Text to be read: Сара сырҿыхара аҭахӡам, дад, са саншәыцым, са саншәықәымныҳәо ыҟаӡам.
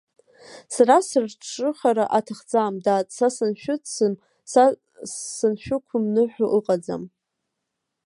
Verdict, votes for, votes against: rejected, 1, 2